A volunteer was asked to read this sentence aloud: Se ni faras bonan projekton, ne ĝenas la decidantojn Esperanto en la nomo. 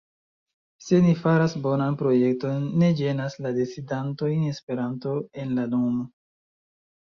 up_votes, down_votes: 2, 0